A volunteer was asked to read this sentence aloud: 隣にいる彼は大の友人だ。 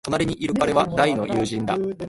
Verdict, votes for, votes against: rejected, 0, 2